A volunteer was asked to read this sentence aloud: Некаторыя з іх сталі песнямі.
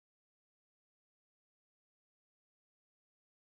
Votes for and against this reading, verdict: 0, 2, rejected